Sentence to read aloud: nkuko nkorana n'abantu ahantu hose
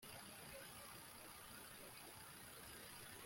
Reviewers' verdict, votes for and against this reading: rejected, 1, 2